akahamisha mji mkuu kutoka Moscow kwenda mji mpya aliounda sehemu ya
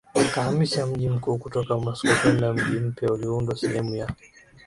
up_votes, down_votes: 5, 0